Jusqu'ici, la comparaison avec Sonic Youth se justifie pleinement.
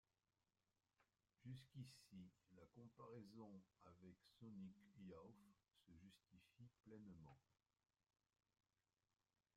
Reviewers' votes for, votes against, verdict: 0, 2, rejected